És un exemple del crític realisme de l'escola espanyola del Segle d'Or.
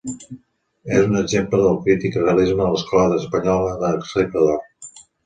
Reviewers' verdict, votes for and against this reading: rejected, 1, 2